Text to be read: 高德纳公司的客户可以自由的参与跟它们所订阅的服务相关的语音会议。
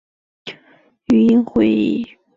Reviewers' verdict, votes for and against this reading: rejected, 2, 3